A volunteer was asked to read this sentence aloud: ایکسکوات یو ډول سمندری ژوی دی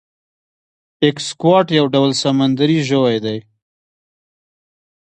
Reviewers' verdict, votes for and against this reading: accepted, 2, 0